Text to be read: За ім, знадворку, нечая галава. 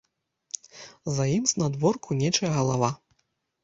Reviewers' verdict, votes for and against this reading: accepted, 2, 0